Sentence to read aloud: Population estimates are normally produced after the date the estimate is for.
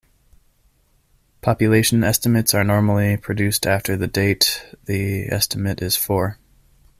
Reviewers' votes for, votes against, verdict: 2, 0, accepted